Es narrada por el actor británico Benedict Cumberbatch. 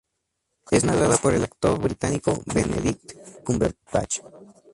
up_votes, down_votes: 2, 0